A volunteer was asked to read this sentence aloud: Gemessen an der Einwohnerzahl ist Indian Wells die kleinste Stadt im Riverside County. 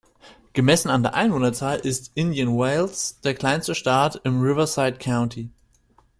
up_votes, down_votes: 0, 2